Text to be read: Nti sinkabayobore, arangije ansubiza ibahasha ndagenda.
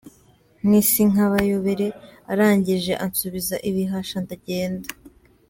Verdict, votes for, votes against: rejected, 1, 2